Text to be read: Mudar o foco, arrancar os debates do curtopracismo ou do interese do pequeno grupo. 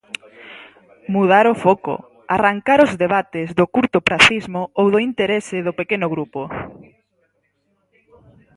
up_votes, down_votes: 4, 0